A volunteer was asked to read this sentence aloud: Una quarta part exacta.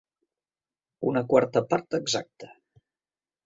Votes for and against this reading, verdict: 3, 0, accepted